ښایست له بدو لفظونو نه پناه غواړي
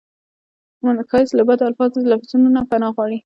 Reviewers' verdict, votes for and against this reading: rejected, 1, 2